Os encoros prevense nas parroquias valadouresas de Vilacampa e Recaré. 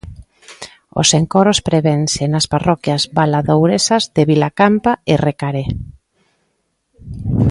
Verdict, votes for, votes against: accepted, 2, 0